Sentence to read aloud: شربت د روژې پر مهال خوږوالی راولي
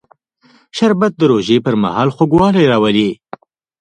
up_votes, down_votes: 1, 2